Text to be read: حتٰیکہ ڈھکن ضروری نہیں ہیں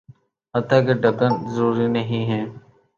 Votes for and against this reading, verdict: 2, 2, rejected